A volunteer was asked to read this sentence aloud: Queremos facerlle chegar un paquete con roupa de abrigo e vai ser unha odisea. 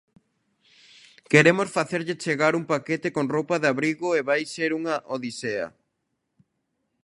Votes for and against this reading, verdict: 2, 0, accepted